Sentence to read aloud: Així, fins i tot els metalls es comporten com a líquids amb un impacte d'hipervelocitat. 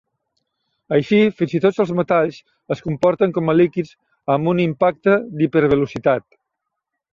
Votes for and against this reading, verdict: 0, 2, rejected